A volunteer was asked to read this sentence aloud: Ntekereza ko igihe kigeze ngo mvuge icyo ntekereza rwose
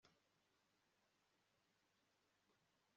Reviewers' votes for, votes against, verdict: 0, 2, rejected